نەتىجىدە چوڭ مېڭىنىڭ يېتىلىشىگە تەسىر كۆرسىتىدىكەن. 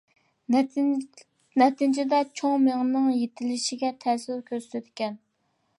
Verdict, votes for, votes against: rejected, 1, 2